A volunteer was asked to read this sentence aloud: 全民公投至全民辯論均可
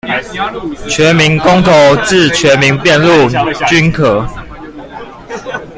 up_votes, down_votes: 1, 2